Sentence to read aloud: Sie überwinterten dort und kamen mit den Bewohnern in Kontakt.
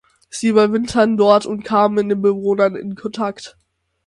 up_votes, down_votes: 0, 6